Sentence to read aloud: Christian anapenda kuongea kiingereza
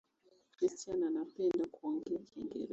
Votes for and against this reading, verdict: 1, 2, rejected